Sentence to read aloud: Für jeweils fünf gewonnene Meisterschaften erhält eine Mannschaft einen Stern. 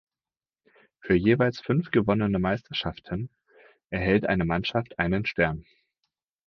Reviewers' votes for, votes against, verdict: 4, 0, accepted